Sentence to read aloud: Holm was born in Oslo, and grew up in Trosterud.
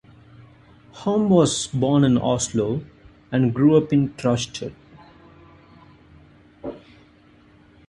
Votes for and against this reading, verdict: 0, 2, rejected